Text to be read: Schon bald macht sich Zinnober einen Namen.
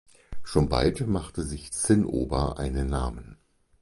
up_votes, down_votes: 2, 4